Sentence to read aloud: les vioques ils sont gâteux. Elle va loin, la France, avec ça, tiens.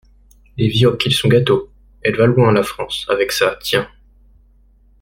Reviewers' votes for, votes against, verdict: 0, 2, rejected